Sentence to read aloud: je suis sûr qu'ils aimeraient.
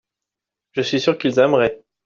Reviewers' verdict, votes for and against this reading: accepted, 2, 1